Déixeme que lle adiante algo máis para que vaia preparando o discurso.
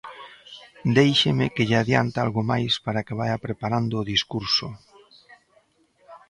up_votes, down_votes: 2, 0